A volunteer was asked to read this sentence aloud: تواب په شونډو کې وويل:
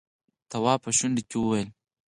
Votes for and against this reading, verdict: 4, 2, accepted